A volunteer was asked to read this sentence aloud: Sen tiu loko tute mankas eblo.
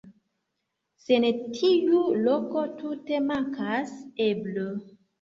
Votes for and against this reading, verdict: 0, 2, rejected